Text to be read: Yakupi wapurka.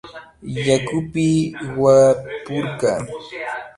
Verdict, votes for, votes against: rejected, 0, 2